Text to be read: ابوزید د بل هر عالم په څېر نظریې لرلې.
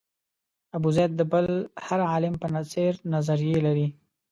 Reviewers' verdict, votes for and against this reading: accepted, 2, 0